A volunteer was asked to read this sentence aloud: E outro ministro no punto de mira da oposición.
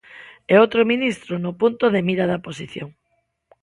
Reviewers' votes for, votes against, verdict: 0, 2, rejected